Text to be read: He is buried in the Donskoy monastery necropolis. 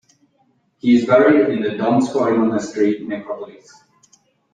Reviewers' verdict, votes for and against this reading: accepted, 2, 1